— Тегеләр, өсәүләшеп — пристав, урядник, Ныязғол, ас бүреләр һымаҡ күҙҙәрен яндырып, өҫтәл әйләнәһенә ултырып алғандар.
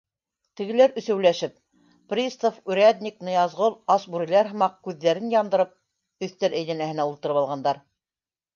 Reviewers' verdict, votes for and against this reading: accepted, 2, 0